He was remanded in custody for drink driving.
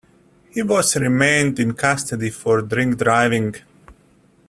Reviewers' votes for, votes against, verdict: 0, 2, rejected